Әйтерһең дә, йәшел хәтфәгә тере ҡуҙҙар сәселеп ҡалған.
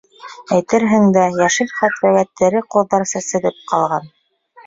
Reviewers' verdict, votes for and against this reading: rejected, 1, 2